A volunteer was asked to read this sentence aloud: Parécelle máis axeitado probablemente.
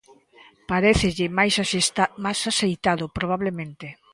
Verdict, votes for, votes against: rejected, 0, 2